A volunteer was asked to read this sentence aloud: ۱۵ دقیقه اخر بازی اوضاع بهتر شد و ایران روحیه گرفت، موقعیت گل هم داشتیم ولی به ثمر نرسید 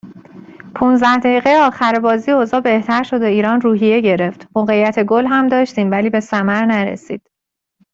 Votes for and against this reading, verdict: 0, 2, rejected